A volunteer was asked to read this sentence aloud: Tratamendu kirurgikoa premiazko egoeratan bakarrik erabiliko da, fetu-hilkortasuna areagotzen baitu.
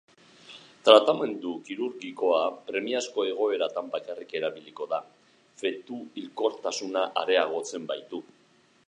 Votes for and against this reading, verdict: 4, 0, accepted